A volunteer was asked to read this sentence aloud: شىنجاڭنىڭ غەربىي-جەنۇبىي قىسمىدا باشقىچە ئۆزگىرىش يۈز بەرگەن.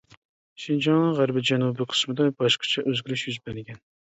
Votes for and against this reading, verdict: 2, 0, accepted